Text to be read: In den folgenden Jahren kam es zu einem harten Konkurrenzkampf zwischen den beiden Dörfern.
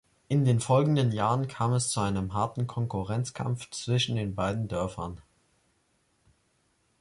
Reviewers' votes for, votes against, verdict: 2, 0, accepted